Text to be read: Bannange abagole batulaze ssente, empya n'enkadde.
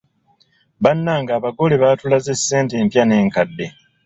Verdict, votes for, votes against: rejected, 0, 2